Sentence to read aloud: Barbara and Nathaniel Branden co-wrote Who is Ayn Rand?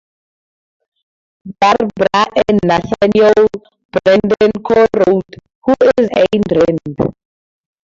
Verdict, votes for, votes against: rejected, 2, 8